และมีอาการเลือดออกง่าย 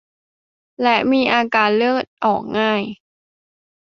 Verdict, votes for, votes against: accepted, 2, 0